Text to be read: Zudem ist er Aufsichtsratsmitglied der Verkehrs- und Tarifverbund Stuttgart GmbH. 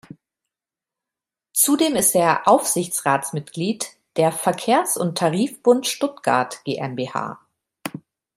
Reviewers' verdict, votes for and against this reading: rejected, 1, 2